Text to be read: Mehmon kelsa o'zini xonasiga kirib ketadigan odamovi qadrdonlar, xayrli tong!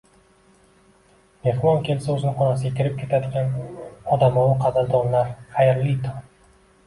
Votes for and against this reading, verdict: 2, 1, accepted